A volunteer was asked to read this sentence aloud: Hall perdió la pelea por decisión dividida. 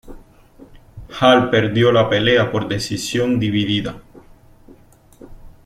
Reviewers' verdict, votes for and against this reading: rejected, 0, 2